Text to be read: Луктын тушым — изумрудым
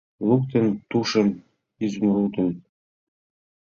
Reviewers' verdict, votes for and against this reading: rejected, 0, 2